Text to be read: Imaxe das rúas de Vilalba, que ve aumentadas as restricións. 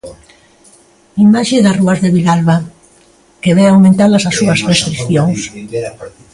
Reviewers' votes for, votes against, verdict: 0, 3, rejected